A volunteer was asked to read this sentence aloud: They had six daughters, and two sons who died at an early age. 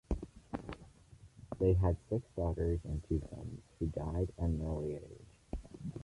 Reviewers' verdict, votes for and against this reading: rejected, 1, 2